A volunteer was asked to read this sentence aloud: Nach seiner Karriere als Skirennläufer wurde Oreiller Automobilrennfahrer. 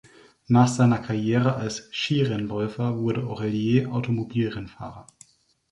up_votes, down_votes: 1, 2